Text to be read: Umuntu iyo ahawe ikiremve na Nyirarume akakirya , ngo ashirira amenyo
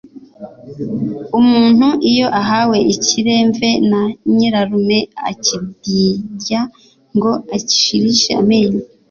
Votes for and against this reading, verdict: 2, 3, rejected